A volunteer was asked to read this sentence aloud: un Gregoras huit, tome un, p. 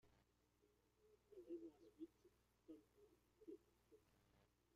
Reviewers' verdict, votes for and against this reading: rejected, 0, 2